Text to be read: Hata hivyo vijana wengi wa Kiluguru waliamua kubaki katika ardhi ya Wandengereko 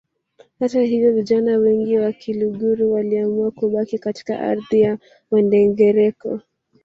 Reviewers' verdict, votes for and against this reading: rejected, 0, 2